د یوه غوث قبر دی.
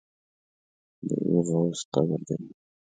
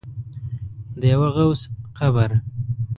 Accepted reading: first